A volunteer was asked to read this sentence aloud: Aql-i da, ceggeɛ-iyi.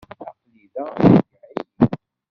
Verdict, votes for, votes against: rejected, 0, 2